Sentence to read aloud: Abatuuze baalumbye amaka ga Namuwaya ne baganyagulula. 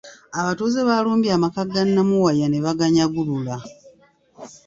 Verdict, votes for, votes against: rejected, 1, 2